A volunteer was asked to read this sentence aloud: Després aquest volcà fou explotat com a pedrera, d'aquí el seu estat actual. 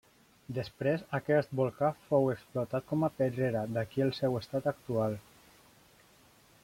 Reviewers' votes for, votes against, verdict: 2, 1, accepted